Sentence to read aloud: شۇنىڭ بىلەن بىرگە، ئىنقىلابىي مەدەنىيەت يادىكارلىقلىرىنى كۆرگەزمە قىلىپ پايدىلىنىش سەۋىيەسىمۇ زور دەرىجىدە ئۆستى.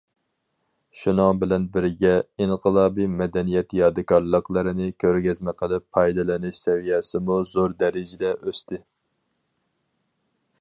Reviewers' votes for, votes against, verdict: 2, 2, rejected